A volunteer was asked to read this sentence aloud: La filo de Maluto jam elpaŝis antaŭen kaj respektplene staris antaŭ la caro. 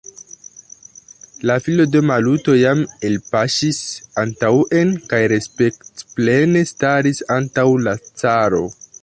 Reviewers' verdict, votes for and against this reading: rejected, 1, 2